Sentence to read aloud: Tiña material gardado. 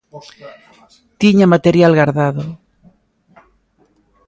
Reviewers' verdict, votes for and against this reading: accepted, 2, 1